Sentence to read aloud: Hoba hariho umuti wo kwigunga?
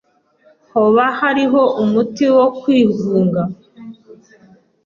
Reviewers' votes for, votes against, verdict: 2, 0, accepted